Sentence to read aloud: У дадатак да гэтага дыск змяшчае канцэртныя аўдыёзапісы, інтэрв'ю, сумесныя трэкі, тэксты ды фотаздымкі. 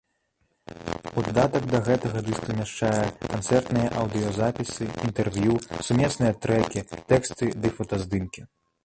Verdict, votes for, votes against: rejected, 1, 2